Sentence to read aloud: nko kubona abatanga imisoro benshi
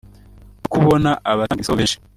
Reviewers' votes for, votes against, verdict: 0, 2, rejected